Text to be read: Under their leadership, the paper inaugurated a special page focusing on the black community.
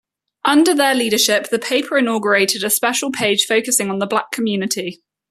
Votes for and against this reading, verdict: 2, 0, accepted